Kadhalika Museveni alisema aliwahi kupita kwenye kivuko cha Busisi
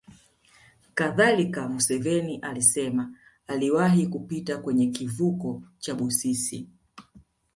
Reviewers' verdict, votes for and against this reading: accepted, 2, 0